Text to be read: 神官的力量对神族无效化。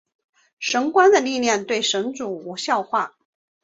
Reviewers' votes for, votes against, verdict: 2, 0, accepted